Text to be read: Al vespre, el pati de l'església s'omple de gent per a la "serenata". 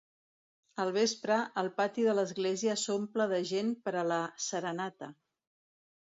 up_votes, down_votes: 2, 0